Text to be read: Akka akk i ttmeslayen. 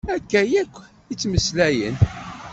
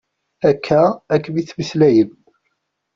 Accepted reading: first